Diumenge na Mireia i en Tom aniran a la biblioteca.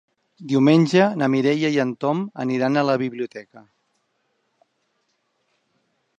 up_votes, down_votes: 3, 0